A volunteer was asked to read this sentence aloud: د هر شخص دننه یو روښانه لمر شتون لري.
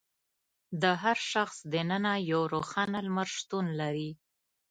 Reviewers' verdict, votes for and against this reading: accepted, 2, 0